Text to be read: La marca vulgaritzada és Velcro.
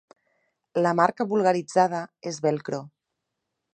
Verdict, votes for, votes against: accepted, 2, 0